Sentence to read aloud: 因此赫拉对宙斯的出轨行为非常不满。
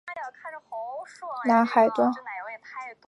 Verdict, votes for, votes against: rejected, 0, 3